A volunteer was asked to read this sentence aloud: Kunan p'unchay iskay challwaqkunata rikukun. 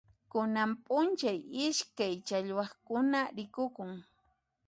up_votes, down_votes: 1, 2